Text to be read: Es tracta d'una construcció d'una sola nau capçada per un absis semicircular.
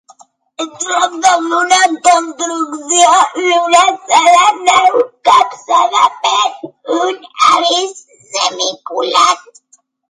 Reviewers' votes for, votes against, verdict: 0, 2, rejected